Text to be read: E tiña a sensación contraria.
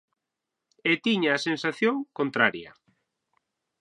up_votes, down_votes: 6, 0